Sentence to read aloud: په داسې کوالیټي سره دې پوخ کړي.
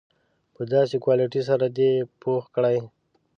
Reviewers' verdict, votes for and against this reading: rejected, 1, 2